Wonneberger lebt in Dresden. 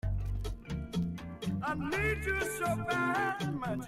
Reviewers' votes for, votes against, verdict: 0, 2, rejected